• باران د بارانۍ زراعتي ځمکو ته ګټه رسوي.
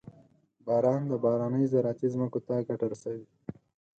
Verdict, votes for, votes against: accepted, 4, 0